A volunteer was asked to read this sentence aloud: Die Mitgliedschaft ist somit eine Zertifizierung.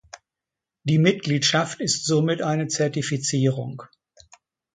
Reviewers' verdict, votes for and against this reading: accepted, 2, 0